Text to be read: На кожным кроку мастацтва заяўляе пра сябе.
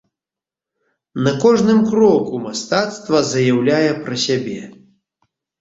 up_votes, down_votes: 2, 0